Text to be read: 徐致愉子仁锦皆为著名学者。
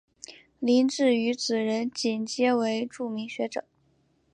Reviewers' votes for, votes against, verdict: 2, 0, accepted